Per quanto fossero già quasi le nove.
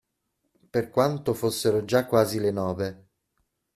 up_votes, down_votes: 2, 0